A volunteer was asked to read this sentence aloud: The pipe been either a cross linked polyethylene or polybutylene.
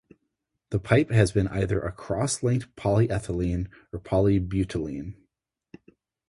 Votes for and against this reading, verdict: 2, 2, rejected